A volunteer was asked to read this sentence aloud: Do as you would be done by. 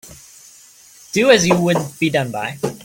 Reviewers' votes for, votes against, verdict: 2, 0, accepted